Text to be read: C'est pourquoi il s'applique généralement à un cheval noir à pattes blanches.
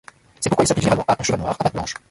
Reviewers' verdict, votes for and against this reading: rejected, 0, 2